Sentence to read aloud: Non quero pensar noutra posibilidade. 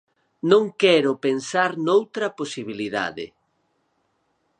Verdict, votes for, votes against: accepted, 4, 0